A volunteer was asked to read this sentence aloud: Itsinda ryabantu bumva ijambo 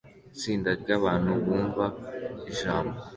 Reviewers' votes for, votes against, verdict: 2, 0, accepted